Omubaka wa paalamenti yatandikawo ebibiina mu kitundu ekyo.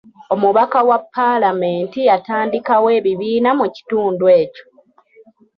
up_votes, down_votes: 1, 2